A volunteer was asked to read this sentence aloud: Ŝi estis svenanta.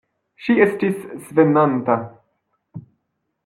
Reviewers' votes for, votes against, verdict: 1, 2, rejected